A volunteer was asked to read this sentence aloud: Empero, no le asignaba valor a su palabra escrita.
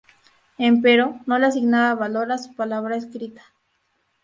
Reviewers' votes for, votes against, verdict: 2, 2, rejected